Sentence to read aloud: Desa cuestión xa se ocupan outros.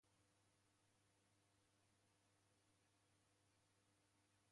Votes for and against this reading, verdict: 0, 2, rejected